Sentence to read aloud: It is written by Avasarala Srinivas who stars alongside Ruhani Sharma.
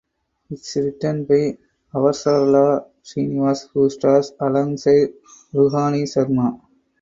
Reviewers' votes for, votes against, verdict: 2, 4, rejected